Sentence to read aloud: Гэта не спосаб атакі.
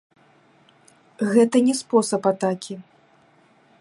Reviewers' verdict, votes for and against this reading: rejected, 1, 2